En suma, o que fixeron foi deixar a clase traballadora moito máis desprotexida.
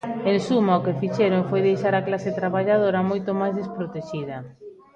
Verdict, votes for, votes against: rejected, 1, 2